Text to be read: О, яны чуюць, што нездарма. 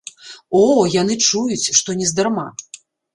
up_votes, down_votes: 2, 0